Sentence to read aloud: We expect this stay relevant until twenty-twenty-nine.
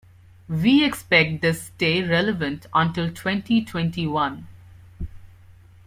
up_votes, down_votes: 1, 2